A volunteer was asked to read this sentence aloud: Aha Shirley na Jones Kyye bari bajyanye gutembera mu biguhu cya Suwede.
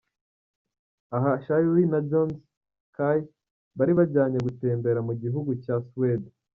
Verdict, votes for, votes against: rejected, 0, 2